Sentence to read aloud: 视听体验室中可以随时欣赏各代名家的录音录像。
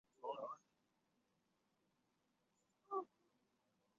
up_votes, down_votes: 0, 2